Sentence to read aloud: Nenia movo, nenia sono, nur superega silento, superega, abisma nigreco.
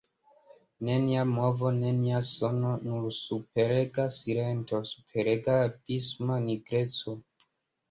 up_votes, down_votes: 1, 2